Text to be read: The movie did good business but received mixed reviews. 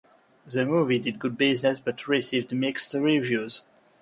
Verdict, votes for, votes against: accepted, 2, 0